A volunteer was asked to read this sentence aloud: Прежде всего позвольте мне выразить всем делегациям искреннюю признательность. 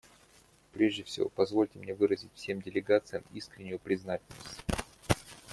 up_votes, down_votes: 1, 2